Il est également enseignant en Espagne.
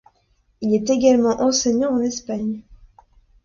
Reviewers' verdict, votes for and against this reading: accepted, 2, 0